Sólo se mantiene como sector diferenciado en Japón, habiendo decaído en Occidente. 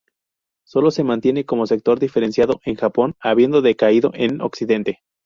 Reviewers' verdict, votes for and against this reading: rejected, 0, 2